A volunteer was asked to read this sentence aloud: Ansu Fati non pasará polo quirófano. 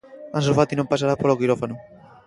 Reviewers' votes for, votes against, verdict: 2, 0, accepted